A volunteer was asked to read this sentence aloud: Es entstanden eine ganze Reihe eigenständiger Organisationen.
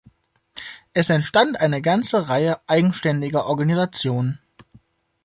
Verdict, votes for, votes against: rejected, 1, 2